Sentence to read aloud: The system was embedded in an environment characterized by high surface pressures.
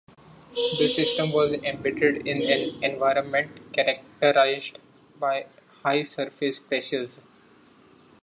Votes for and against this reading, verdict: 2, 0, accepted